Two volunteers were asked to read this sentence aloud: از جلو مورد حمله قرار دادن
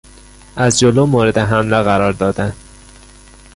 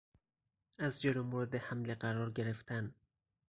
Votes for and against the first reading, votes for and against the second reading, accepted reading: 2, 1, 0, 4, first